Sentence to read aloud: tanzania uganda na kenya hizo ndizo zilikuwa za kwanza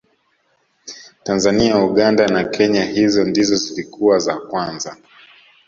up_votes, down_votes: 2, 0